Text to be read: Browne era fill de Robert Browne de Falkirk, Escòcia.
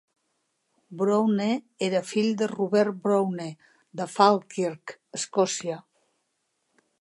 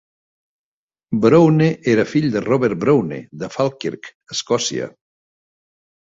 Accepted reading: first